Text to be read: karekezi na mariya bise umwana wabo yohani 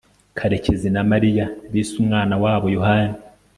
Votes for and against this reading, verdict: 2, 0, accepted